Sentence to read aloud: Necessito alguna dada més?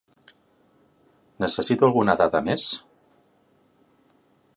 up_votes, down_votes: 2, 0